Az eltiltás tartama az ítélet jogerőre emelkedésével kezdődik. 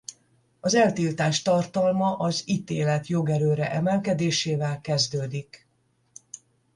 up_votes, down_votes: 5, 5